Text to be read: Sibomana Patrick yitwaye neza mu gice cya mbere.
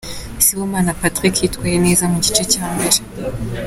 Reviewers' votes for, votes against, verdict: 2, 0, accepted